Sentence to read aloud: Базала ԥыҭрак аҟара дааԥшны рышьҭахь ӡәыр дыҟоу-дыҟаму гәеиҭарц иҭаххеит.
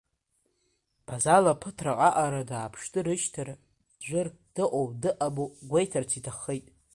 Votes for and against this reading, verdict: 1, 2, rejected